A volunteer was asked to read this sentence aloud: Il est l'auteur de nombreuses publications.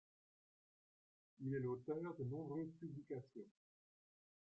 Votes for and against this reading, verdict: 2, 1, accepted